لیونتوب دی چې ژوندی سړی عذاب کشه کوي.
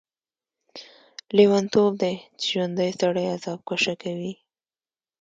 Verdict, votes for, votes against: accepted, 2, 0